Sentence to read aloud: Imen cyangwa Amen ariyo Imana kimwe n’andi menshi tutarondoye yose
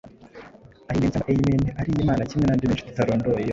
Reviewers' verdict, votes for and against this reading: accepted, 2, 1